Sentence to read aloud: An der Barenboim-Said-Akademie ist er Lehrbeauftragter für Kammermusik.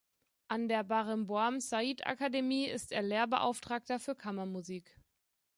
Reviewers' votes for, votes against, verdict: 1, 2, rejected